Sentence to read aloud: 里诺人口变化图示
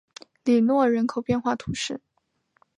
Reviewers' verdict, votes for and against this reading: accepted, 4, 0